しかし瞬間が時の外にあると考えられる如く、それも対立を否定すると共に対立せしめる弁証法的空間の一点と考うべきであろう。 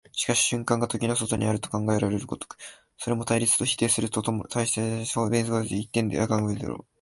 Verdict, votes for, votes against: rejected, 0, 3